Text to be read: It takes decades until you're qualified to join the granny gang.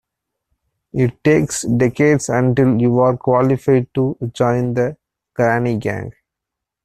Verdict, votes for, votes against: rejected, 0, 2